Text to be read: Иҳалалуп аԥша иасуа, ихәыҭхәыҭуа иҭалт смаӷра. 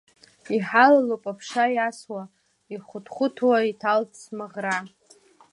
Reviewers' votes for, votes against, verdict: 0, 2, rejected